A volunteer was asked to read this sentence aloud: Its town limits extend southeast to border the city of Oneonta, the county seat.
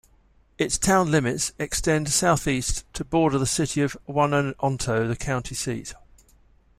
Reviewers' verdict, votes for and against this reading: rejected, 0, 2